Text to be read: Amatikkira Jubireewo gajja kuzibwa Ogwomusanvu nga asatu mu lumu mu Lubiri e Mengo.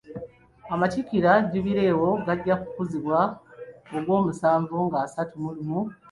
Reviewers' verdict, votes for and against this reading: rejected, 1, 2